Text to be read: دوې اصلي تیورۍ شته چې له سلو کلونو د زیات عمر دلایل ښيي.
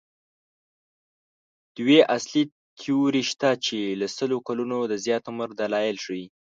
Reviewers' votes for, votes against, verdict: 1, 2, rejected